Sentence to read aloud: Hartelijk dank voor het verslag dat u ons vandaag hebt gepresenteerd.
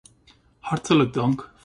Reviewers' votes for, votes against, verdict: 0, 2, rejected